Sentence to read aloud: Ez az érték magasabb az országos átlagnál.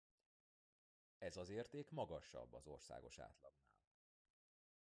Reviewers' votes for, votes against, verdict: 0, 2, rejected